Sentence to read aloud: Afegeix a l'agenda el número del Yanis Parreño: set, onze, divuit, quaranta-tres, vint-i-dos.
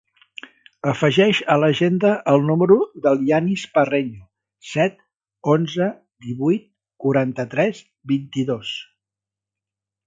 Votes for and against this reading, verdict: 3, 0, accepted